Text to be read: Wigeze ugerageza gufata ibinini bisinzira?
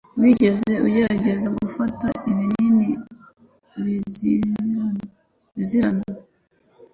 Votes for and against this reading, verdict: 1, 2, rejected